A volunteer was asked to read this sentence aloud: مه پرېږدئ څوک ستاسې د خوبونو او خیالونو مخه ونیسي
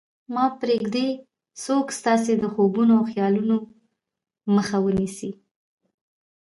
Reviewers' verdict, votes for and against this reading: rejected, 0, 2